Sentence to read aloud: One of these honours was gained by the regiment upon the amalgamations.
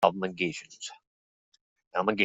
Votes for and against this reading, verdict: 0, 2, rejected